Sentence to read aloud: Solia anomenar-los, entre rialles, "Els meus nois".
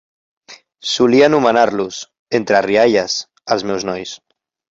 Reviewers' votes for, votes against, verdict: 2, 0, accepted